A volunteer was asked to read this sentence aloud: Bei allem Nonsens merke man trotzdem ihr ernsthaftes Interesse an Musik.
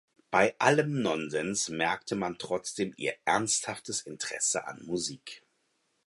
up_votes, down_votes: 0, 4